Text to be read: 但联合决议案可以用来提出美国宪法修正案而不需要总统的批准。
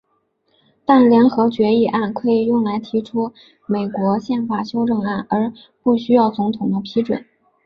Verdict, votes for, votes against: accepted, 3, 0